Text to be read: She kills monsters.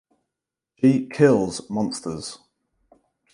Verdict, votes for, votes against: rejected, 2, 4